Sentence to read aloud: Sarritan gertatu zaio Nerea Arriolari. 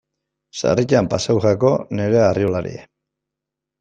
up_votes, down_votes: 0, 2